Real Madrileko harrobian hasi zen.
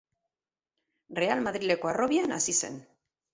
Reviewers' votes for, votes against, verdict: 4, 0, accepted